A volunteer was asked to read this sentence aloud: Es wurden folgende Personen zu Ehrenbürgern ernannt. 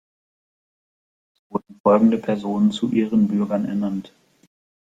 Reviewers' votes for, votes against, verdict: 0, 2, rejected